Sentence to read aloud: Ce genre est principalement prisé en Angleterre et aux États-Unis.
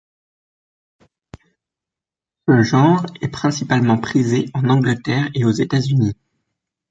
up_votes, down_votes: 1, 2